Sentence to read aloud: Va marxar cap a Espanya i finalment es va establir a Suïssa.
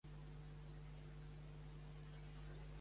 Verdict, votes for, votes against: rejected, 1, 2